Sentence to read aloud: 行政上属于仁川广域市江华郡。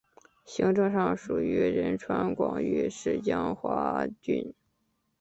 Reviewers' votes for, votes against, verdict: 2, 1, accepted